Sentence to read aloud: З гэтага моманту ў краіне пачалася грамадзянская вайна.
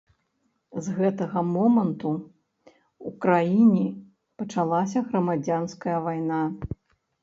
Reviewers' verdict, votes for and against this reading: rejected, 1, 2